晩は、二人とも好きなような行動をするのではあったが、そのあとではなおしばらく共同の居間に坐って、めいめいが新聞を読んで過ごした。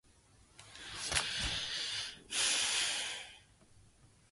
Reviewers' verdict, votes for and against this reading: rejected, 0, 3